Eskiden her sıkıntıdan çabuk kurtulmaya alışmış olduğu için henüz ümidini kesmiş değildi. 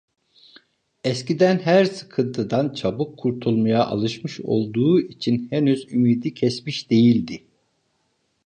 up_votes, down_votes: 1, 2